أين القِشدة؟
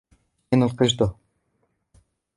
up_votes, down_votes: 0, 2